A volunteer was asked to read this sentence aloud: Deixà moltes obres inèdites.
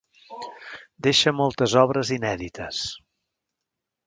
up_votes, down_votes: 2, 3